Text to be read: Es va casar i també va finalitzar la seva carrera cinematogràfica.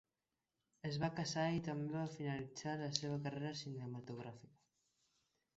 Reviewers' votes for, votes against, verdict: 1, 2, rejected